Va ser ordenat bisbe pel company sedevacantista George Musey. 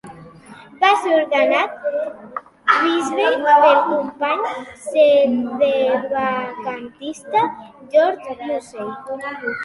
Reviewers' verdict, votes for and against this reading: rejected, 2, 3